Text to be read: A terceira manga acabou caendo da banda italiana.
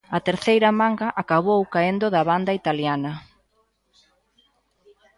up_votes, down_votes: 2, 0